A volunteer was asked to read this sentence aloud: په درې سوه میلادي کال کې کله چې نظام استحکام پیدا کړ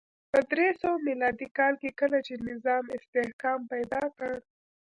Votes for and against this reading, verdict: 0, 2, rejected